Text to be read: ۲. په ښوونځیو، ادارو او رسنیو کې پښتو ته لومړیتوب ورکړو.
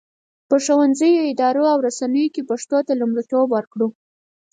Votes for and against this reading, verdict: 0, 2, rejected